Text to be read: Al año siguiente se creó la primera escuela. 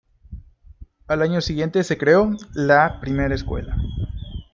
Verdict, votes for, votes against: rejected, 1, 2